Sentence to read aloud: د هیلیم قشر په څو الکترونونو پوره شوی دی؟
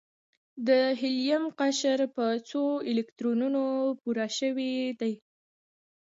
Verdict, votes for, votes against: rejected, 1, 2